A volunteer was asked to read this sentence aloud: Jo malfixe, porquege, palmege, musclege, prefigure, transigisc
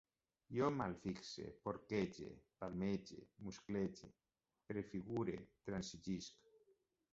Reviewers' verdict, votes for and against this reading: rejected, 1, 2